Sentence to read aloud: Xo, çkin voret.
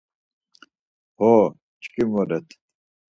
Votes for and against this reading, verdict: 4, 2, accepted